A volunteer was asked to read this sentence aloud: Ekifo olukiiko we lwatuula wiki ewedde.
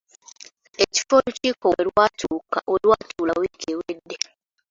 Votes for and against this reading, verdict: 0, 2, rejected